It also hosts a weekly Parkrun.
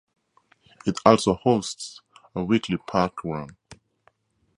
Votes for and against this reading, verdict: 0, 2, rejected